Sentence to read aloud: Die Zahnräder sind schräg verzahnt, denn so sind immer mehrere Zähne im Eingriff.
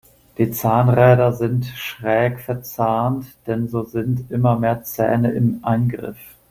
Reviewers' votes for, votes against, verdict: 0, 2, rejected